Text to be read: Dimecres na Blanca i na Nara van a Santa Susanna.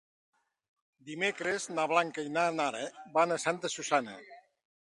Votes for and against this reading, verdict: 4, 0, accepted